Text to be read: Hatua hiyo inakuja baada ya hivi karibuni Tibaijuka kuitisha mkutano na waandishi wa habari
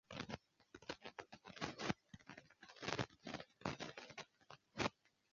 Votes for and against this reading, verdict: 1, 2, rejected